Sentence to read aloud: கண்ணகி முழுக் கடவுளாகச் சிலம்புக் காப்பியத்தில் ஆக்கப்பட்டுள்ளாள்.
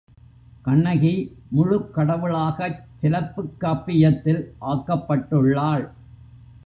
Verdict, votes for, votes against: rejected, 0, 2